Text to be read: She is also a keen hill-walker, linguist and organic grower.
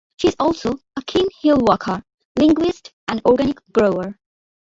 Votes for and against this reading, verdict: 2, 0, accepted